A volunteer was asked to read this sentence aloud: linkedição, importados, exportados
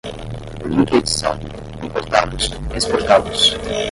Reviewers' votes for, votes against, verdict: 0, 5, rejected